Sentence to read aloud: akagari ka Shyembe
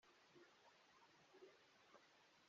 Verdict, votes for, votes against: rejected, 1, 2